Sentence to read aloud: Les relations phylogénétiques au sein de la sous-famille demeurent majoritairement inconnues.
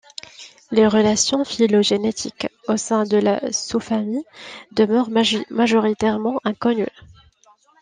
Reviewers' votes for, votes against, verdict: 1, 2, rejected